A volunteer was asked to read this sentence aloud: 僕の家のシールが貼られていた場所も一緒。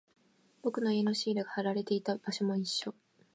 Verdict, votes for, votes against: accepted, 2, 0